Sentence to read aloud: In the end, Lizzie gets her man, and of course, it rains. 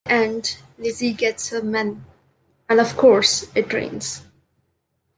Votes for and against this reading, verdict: 0, 2, rejected